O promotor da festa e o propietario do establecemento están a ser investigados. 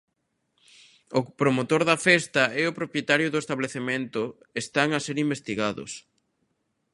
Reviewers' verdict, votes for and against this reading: accepted, 2, 0